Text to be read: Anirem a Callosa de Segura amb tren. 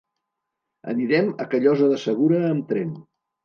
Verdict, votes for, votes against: accepted, 2, 0